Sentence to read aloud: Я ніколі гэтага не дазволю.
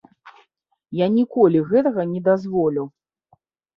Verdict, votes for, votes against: accepted, 2, 0